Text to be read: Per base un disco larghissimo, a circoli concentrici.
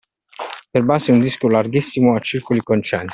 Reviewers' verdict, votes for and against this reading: rejected, 1, 2